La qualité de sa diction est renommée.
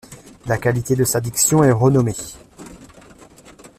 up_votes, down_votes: 2, 0